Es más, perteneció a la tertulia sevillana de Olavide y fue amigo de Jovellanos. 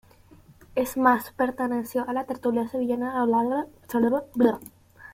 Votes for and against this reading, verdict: 1, 2, rejected